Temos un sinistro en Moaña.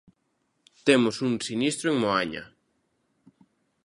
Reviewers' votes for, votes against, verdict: 2, 0, accepted